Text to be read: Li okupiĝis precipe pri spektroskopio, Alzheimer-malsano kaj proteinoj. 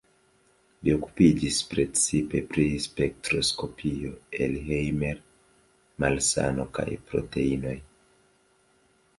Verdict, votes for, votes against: rejected, 1, 2